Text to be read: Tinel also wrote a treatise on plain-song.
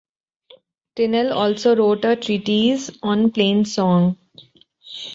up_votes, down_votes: 2, 0